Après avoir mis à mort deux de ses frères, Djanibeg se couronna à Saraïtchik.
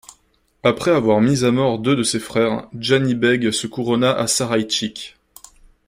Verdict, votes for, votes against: accepted, 2, 1